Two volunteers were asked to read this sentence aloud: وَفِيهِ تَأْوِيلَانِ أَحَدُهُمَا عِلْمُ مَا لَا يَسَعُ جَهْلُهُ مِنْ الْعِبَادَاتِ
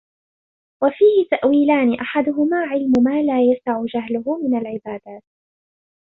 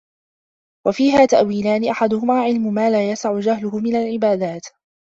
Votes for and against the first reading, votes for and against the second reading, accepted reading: 2, 0, 0, 2, first